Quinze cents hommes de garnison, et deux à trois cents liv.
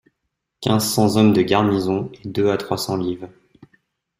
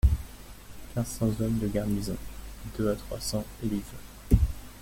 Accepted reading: first